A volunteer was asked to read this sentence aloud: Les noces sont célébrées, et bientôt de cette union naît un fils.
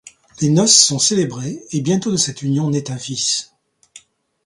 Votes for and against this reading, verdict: 2, 0, accepted